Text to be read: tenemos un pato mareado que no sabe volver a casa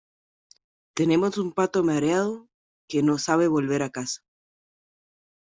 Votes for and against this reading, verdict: 2, 1, accepted